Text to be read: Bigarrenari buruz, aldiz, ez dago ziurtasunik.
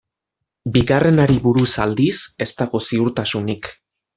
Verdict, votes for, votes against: accepted, 2, 0